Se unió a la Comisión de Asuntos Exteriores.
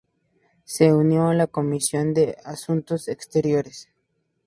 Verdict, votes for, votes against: accepted, 2, 0